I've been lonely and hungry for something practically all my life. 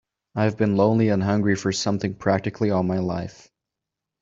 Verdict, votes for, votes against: accepted, 2, 0